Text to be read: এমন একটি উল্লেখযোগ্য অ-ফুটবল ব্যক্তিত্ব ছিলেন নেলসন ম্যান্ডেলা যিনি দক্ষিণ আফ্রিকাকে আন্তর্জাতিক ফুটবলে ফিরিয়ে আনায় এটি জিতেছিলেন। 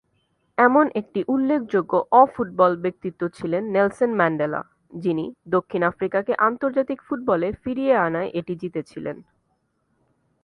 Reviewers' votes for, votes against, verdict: 2, 0, accepted